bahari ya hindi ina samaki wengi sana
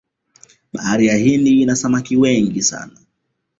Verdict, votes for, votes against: accepted, 2, 0